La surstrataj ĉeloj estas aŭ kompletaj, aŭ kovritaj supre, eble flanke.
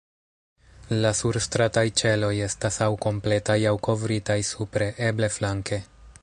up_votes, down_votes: 2, 0